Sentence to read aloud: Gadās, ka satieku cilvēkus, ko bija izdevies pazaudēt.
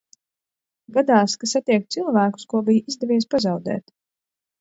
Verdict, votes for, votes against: accepted, 2, 0